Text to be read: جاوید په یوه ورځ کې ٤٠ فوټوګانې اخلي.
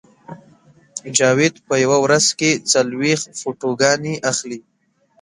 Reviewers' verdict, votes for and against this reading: rejected, 0, 2